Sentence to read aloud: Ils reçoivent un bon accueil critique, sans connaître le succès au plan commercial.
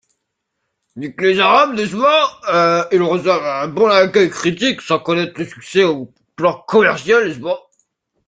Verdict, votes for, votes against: rejected, 1, 3